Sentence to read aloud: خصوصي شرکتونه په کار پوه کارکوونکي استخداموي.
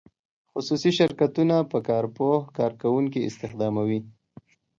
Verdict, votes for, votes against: accepted, 2, 0